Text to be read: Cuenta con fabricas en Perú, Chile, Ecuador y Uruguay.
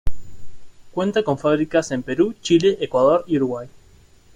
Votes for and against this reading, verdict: 2, 0, accepted